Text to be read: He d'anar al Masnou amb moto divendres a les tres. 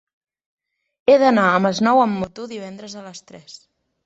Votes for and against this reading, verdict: 2, 1, accepted